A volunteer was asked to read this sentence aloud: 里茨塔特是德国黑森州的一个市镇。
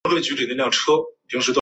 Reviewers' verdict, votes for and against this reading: rejected, 0, 2